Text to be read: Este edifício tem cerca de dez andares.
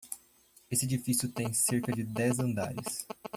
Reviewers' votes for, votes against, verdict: 1, 2, rejected